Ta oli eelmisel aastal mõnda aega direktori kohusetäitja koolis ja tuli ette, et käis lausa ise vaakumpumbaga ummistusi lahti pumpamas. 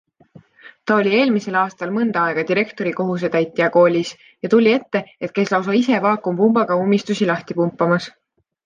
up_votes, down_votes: 2, 0